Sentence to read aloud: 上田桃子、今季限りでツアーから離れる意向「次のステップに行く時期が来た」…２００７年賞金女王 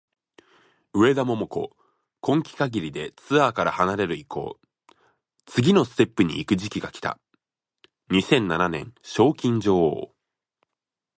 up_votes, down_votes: 0, 2